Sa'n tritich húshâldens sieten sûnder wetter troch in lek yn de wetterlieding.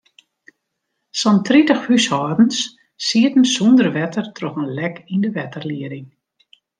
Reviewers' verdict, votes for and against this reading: accepted, 2, 0